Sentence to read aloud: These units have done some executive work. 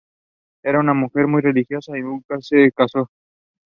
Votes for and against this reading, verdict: 1, 2, rejected